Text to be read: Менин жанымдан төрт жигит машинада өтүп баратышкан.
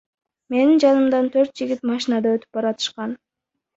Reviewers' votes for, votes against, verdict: 0, 2, rejected